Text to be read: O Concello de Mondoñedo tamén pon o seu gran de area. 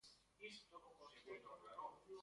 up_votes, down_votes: 0, 2